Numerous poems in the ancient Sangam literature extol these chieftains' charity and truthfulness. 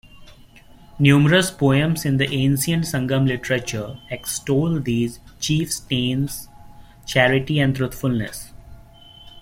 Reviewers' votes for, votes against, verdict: 1, 2, rejected